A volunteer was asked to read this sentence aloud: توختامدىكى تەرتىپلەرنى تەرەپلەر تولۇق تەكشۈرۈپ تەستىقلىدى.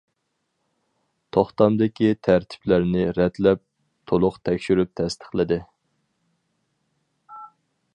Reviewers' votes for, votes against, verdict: 0, 2, rejected